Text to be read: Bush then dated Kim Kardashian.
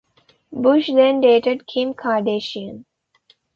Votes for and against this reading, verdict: 2, 0, accepted